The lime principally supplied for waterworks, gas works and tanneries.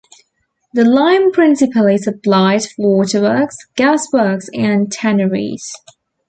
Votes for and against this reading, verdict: 2, 0, accepted